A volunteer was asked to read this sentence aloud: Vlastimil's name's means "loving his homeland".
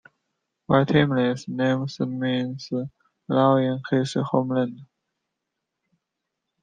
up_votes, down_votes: 0, 2